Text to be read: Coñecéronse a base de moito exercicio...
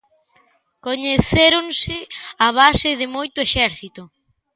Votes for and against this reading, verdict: 0, 2, rejected